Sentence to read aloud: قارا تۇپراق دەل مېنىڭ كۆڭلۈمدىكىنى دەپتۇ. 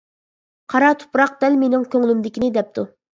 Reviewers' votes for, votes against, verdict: 2, 0, accepted